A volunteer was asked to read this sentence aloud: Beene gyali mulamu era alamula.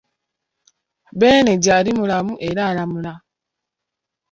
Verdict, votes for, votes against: accepted, 2, 1